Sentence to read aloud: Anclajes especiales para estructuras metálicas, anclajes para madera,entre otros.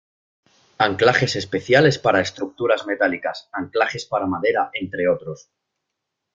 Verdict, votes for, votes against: accepted, 2, 0